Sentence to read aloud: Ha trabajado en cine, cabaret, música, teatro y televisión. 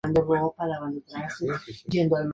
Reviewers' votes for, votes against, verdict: 0, 2, rejected